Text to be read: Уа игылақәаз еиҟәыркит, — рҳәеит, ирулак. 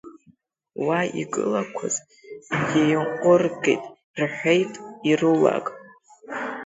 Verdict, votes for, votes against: accepted, 2, 1